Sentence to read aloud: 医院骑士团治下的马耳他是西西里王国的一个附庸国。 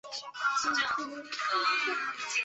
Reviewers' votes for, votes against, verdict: 0, 2, rejected